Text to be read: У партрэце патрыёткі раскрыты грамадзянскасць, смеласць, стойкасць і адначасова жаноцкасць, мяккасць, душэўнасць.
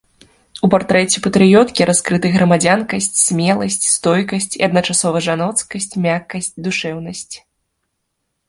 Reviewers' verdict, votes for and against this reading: rejected, 0, 2